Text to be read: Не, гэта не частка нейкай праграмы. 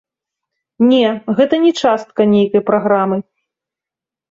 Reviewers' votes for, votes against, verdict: 0, 2, rejected